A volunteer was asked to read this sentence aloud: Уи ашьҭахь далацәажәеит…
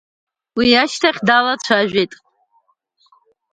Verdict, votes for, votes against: accepted, 2, 1